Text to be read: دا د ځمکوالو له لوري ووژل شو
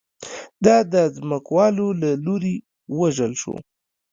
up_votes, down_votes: 3, 1